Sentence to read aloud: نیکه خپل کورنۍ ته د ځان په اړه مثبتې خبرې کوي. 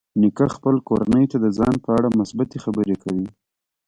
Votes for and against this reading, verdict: 2, 0, accepted